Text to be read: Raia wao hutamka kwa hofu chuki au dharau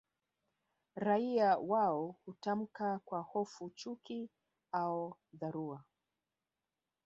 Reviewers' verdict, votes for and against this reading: rejected, 1, 2